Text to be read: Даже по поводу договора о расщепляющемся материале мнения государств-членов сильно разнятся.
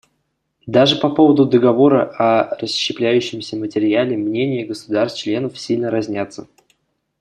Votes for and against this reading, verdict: 2, 0, accepted